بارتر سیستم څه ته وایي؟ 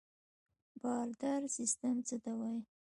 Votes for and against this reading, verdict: 2, 1, accepted